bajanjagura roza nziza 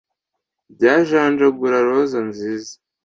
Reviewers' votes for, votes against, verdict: 0, 2, rejected